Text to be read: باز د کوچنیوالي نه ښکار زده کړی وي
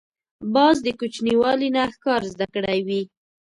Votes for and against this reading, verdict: 2, 0, accepted